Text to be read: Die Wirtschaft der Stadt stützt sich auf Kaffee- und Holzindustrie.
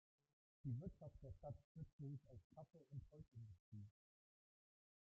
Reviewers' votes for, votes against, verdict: 0, 2, rejected